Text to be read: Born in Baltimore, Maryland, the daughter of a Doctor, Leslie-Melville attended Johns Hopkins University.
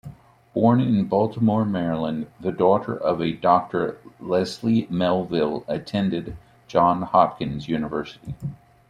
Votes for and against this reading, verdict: 2, 0, accepted